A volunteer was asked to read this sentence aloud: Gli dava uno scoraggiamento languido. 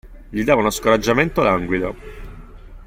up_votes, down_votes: 3, 0